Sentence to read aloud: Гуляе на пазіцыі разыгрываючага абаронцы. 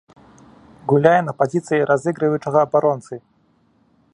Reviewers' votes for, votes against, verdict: 0, 2, rejected